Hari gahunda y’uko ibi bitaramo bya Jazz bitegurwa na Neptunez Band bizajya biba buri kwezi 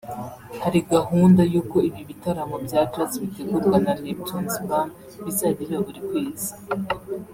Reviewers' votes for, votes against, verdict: 1, 2, rejected